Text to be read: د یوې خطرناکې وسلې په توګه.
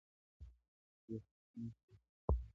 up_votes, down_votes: 0, 2